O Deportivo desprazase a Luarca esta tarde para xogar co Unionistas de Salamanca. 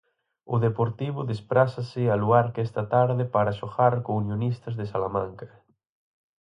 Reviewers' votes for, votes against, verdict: 2, 4, rejected